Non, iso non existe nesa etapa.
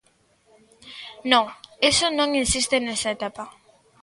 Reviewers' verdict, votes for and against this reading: rejected, 0, 2